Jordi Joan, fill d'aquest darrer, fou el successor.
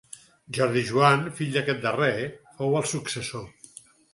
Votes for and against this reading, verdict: 4, 0, accepted